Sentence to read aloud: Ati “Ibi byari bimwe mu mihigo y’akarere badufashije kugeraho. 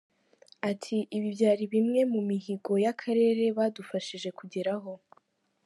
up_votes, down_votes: 2, 0